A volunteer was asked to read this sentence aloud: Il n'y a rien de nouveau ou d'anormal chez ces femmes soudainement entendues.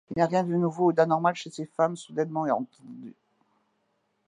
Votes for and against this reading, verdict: 1, 2, rejected